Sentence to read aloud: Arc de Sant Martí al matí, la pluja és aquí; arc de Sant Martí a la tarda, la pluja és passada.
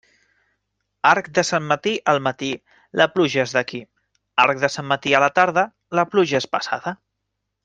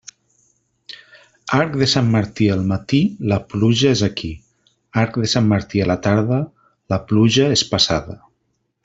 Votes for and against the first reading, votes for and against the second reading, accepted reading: 1, 2, 3, 0, second